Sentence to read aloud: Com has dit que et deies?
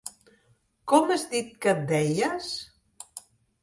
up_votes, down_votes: 3, 0